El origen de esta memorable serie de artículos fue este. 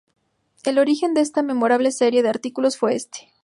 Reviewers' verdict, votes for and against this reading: accepted, 2, 0